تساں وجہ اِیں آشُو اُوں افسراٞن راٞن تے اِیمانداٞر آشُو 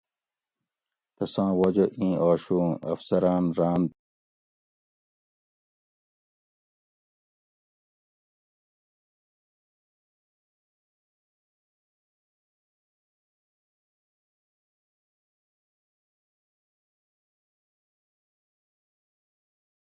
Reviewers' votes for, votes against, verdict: 0, 2, rejected